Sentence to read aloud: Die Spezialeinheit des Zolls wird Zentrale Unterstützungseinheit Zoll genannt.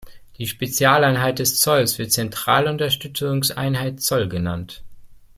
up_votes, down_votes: 2, 0